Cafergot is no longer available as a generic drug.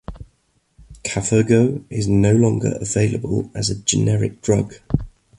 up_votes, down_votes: 2, 0